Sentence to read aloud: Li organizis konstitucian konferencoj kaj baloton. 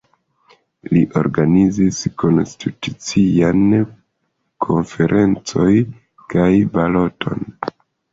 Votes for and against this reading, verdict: 0, 2, rejected